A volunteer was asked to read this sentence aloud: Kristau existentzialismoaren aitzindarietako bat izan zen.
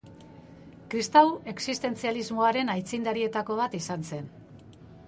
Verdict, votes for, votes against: accepted, 2, 0